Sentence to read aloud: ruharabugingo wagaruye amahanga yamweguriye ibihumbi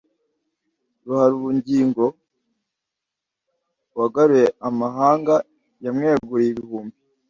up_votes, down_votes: 2, 0